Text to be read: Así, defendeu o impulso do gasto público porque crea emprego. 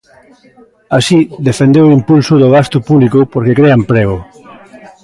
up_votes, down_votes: 1, 2